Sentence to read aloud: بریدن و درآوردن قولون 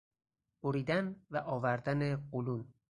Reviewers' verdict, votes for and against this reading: rejected, 0, 4